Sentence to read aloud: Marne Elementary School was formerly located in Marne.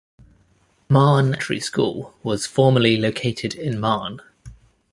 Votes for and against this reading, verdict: 0, 2, rejected